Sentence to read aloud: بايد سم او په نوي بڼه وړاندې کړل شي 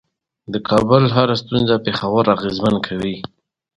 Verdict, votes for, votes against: accepted, 2, 0